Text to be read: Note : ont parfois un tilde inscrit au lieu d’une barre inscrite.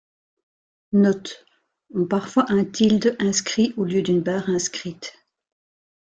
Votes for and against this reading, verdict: 2, 0, accepted